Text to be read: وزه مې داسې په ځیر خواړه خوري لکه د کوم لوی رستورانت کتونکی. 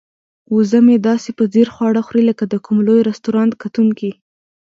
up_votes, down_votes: 1, 2